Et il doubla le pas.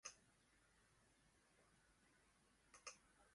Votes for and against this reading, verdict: 0, 2, rejected